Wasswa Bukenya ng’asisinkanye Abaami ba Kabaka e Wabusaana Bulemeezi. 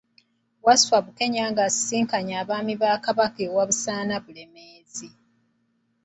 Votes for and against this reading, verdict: 2, 0, accepted